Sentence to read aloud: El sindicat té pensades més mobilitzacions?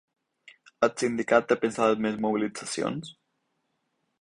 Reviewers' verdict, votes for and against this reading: accepted, 4, 0